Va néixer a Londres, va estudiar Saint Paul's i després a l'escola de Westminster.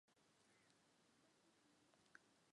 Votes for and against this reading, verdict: 0, 2, rejected